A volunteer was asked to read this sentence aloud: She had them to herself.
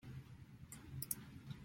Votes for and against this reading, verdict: 0, 2, rejected